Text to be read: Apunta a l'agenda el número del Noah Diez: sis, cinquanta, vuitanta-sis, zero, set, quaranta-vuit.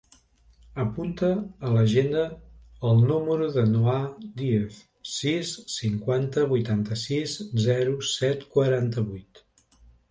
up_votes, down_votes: 0, 2